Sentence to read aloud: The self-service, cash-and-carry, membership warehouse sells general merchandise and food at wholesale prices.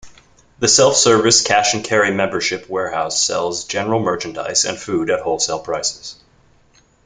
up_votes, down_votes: 2, 0